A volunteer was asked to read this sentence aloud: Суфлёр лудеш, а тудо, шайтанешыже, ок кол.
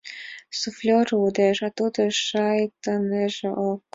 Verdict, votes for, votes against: rejected, 1, 2